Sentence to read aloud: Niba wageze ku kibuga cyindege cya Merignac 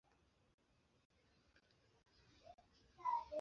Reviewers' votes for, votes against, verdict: 0, 2, rejected